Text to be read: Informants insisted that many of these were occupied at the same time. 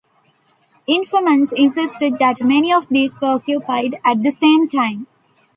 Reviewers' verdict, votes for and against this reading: accepted, 2, 1